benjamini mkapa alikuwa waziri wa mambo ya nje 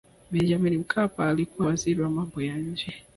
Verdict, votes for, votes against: rejected, 1, 2